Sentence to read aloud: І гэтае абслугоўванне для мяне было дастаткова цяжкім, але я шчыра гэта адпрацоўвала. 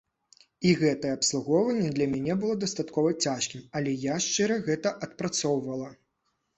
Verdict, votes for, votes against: accepted, 2, 0